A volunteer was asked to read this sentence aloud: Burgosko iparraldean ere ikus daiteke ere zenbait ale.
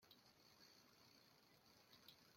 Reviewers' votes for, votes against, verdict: 0, 2, rejected